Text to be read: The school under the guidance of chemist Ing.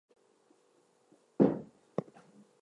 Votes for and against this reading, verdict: 0, 4, rejected